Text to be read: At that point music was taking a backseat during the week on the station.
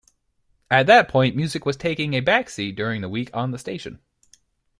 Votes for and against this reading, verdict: 2, 0, accepted